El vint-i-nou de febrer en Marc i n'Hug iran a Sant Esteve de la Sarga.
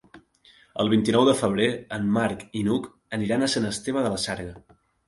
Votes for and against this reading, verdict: 0, 2, rejected